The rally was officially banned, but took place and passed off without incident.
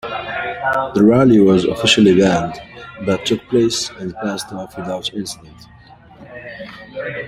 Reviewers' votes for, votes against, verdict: 1, 2, rejected